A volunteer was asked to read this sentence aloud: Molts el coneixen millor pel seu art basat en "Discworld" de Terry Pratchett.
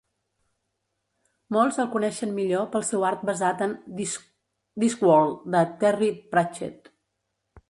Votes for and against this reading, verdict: 2, 3, rejected